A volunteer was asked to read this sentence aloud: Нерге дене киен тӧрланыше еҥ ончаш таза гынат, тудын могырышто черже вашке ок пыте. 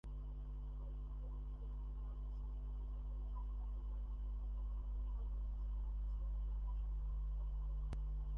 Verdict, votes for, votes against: rejected, 0, 2